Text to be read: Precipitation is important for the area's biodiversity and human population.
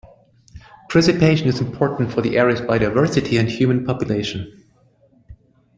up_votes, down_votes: 1, 2